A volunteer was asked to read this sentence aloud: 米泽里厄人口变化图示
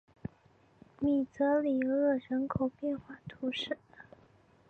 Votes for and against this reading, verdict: 3, 0, accepted